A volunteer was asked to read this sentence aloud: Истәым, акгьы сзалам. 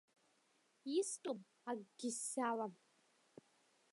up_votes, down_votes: 2, 0